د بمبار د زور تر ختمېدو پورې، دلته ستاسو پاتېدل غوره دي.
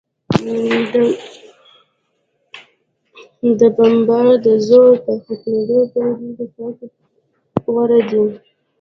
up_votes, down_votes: 0, 2